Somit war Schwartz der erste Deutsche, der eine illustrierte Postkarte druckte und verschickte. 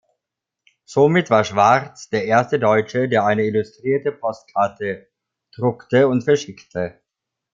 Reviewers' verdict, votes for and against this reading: accepted, 2, 0